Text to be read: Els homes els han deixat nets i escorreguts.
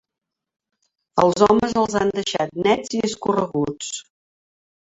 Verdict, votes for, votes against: accepted, 3, 0